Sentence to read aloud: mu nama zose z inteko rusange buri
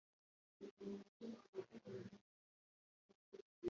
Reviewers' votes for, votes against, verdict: 1, 4, rejected